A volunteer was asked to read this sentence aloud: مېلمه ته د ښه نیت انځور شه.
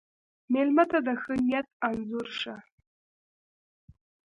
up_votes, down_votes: 1, 2